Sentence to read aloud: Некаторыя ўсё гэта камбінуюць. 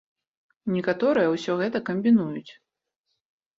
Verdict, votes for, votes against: accepted, 2, 0